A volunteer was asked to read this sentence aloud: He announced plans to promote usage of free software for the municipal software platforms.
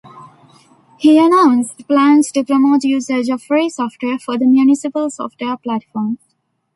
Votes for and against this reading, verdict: 1, 2, rejected